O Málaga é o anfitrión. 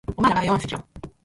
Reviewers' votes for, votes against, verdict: 0, 4, rejected